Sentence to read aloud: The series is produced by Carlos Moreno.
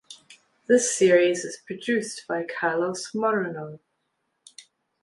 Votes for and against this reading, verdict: 1, 2, rejected